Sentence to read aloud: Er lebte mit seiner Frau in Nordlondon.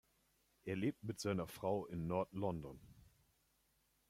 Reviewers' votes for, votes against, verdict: 1, 2, rejected